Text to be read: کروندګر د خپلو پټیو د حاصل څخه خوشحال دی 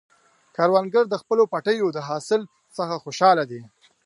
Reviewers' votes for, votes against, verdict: 2, 1, accepted